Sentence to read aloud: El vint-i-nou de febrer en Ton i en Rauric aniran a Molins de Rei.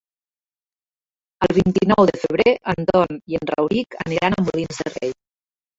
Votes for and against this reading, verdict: 1, 2, rejected